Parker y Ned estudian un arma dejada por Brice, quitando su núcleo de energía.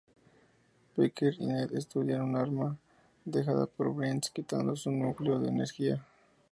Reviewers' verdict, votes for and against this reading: rejected, 0, 2